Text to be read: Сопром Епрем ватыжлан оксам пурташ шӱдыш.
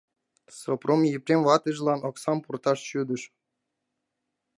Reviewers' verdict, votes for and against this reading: rejected, 1, 2